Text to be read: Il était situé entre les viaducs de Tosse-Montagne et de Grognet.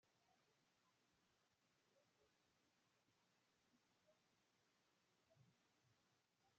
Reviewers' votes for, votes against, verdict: 0, 2, rejected